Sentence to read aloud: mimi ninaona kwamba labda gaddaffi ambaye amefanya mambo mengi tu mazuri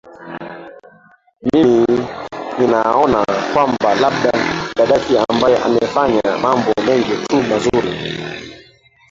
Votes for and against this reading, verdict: 0, 2, rejected